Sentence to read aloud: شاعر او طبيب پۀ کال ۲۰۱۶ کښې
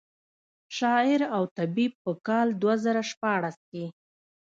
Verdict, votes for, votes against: rejected, 0, 2